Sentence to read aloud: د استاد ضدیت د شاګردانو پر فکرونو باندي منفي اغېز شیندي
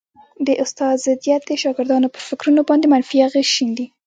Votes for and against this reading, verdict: 1, 2, rejected